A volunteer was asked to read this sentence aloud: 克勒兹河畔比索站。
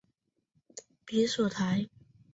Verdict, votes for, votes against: rejected, 0, 2